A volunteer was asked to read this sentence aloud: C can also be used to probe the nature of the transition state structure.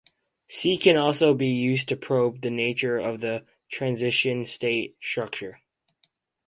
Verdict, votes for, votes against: rejected, 2, 2